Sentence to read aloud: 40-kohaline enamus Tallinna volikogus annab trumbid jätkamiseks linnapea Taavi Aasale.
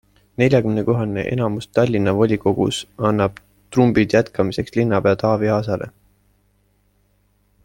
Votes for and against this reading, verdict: 0, 2, rejected